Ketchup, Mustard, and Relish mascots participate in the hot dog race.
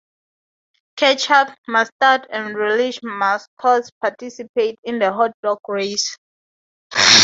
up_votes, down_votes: 2, 0